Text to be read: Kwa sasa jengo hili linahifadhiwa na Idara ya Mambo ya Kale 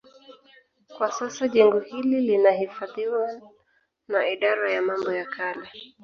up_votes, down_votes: 1, 2